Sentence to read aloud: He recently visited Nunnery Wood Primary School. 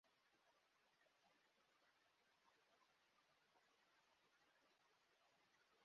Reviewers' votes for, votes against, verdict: 1, 2, rejected